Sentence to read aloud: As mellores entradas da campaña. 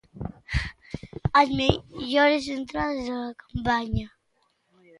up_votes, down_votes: 0, 2